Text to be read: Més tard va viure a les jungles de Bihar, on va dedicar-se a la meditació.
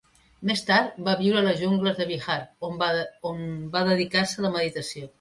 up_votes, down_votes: 1, 2